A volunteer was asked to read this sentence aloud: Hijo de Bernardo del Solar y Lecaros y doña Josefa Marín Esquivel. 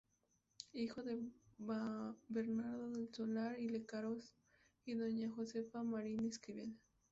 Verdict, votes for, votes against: rejected, 0, 2